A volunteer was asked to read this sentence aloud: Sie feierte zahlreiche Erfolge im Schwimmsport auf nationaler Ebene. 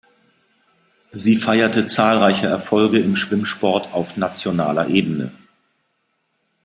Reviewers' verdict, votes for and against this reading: accepted, 3, 0